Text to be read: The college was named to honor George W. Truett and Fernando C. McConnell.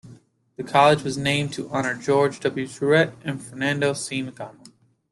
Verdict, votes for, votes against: accepted, 2, 0